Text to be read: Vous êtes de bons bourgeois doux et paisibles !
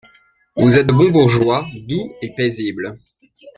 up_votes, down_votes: 1, 2